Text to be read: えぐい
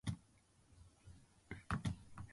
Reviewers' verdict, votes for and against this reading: rejected, 1, 2